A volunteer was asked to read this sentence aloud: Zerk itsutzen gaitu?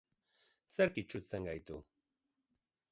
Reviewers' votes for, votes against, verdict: 3, 0, accepted